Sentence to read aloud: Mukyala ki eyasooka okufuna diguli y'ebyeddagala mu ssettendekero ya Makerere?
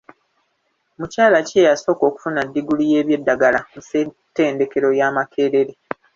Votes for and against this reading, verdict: 1, 2, rejected